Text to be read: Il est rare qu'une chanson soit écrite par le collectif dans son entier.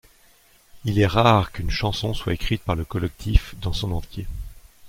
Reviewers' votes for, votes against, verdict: 1, 2, rejected